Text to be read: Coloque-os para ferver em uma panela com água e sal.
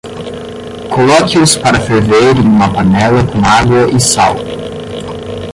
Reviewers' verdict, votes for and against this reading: rejected, 5, 5